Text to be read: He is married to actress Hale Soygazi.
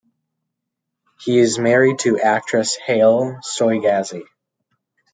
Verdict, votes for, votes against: rejected, 1, 2